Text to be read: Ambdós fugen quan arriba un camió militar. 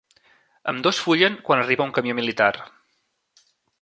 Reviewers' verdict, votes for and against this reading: rejected, 0, 2